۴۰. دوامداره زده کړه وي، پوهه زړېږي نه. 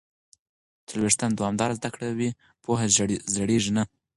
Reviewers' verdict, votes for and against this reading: rejected, 0, 2